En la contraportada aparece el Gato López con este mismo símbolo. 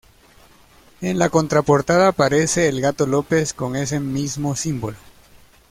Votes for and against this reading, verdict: 1, 2, rejected